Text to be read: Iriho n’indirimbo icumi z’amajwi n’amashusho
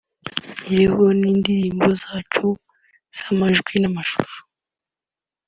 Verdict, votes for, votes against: accepted, 2, 0